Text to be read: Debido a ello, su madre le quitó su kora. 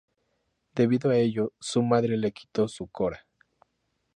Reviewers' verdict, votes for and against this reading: accepted, 2, 0